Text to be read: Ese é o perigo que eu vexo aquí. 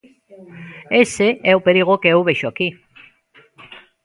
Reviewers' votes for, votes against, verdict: 0, 2, rejected